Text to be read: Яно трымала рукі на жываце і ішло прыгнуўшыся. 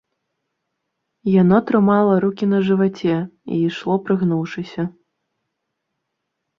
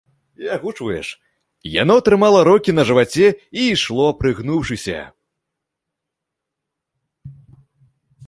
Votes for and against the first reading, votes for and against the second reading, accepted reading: 2, 0, 0, 2, first